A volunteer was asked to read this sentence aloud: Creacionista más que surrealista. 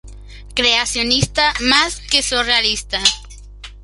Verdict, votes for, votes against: accepted, 2, 0